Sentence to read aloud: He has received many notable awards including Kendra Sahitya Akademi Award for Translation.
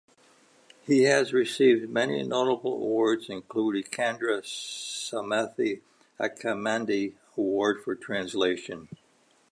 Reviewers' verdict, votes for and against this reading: rejected, 0, 2